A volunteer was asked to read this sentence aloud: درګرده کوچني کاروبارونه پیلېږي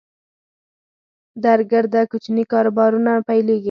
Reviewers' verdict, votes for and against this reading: accepted, 4, 2